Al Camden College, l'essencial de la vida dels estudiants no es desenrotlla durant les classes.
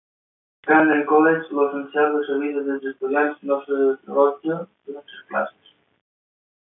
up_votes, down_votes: 1, 2